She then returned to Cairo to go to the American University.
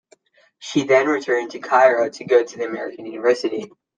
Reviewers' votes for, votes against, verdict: 2, 0, accepted